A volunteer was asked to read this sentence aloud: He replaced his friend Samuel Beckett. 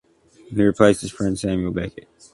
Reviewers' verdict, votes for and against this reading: rejected, 0, 2